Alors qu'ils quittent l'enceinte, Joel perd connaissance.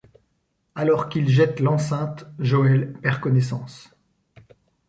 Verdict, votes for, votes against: rejected, 1, 2